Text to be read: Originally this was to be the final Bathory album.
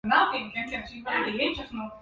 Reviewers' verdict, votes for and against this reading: rejected, 0, 2